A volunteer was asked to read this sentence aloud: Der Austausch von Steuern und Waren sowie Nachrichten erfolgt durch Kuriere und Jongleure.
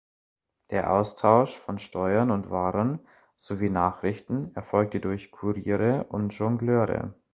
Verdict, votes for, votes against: rejected, 1, 2